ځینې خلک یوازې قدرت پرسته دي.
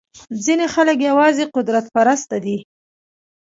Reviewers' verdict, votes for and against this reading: accepted, 2, 1